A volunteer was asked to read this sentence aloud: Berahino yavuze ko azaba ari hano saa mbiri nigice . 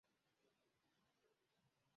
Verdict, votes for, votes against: rejected, 0, 2